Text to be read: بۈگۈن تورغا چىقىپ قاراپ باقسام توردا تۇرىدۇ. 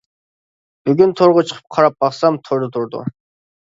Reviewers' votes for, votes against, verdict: 2, 0, accepted